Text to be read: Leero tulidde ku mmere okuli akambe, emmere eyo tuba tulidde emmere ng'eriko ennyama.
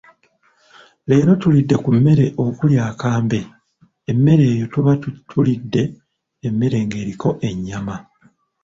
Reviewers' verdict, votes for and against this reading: accepted, 2, 1